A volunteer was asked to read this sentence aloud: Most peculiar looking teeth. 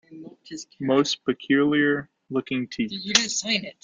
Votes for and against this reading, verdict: 1, 2, rejected